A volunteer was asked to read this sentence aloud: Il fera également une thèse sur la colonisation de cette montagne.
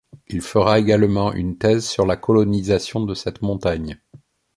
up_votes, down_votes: 2, 0